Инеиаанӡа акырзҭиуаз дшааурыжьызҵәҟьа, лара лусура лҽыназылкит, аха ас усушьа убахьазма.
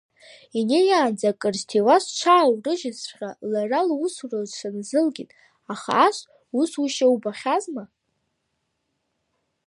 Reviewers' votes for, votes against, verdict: 2, 0, accepted